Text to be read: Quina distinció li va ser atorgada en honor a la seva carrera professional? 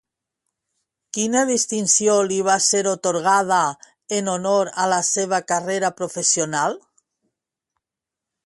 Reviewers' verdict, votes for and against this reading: rejected, 1, 2